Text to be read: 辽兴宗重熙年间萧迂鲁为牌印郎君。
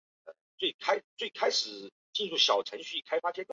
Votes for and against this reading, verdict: 2, 2, rejected